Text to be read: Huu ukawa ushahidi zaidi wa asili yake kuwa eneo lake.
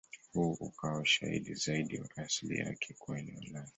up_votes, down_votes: 0, 2